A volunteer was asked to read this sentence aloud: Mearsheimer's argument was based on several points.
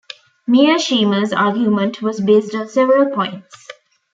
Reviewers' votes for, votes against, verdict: 0, 2, rejected